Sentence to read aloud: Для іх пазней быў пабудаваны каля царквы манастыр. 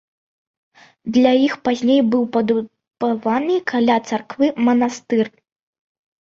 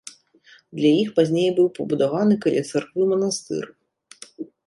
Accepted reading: second